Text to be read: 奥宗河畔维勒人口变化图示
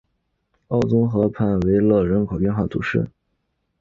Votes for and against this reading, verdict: 0, 2, rejected